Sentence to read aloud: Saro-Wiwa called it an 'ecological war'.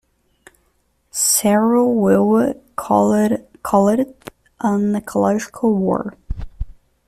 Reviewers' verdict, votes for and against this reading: rejected, 0, 2